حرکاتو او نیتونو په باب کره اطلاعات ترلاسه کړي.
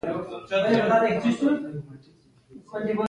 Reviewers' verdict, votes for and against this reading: accepted, 2, 0